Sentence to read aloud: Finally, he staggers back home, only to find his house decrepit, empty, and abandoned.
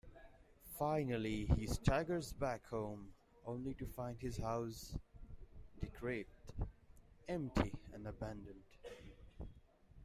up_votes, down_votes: 0, 2